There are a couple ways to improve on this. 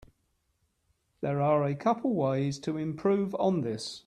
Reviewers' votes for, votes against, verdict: 2, 0, accepted